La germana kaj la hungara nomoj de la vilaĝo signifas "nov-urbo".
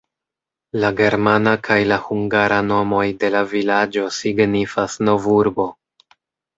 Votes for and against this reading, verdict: 2, 0, accepted